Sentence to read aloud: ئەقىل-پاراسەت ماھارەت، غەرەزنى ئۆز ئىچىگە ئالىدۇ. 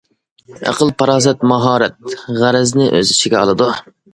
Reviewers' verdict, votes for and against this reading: accepted, 2, 0